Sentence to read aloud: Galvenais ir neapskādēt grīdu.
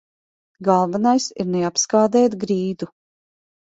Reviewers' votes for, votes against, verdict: 2, 0, accepted